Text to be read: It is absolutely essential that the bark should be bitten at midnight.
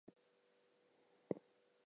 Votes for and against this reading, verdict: 0, 2, rejected